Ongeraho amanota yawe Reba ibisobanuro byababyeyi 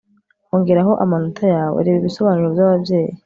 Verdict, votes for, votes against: accepted, 2, 0